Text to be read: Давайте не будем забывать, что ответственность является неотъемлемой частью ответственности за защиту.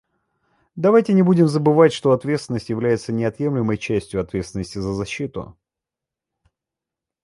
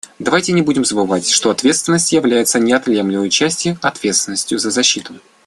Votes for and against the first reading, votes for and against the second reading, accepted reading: 2, 0, 1, 2, first